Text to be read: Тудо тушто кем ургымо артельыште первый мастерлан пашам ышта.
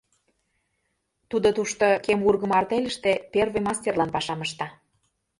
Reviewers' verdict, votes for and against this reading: accepted, 2, 0